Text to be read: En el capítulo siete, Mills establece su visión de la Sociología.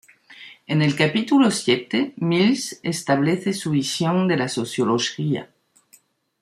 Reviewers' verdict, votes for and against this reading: rejected, 0, 2